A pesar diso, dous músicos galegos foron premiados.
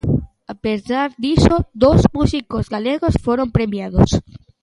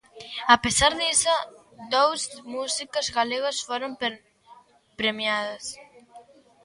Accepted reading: first